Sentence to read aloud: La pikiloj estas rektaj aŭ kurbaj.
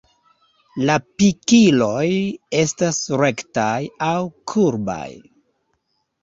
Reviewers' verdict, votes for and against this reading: rejected, 1, 2